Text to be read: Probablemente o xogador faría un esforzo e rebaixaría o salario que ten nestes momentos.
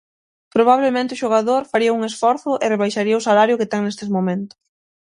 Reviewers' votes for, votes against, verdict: 6, 0, accepted